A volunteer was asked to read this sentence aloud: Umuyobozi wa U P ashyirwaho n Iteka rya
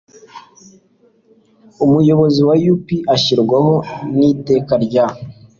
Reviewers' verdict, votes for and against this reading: accepted, 2, 0